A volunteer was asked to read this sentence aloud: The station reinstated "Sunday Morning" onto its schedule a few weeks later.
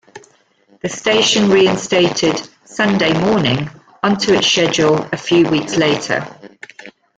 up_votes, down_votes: 1, 2